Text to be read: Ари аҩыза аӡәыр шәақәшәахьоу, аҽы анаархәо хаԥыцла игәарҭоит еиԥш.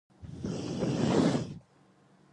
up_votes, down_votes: 0, 2